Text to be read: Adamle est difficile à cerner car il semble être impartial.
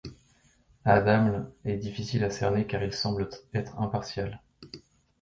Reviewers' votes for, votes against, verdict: 2, 0, accepted